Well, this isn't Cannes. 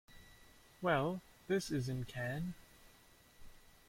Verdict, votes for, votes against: accepted, 2, 0